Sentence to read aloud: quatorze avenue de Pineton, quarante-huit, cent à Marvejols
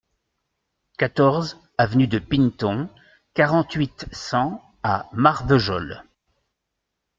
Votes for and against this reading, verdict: 2, 0, accepted